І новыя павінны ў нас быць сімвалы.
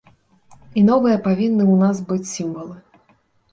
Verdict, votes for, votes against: accepted, 2, 0